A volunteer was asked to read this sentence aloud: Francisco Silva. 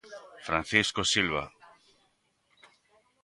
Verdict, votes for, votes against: accepted, 3, 1